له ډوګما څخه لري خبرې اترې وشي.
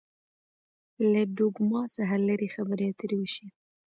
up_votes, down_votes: 2, 1